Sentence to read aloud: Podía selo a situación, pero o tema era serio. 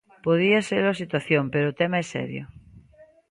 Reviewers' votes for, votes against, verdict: 0, 2, rejected